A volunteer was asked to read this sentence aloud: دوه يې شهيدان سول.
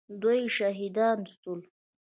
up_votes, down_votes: 0, 2